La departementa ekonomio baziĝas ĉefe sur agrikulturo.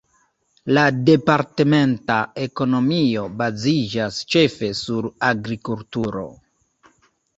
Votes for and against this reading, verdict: 2, 1, accepted